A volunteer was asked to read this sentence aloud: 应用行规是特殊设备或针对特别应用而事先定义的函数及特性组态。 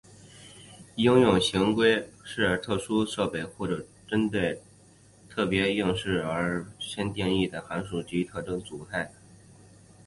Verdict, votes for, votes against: rejected, 0, 2